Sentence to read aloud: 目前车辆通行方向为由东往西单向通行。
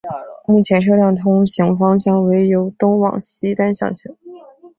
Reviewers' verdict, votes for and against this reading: accepted, 3, 1